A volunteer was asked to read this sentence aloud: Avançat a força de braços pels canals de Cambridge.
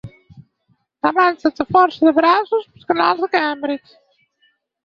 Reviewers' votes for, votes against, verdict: 0, 4, rejected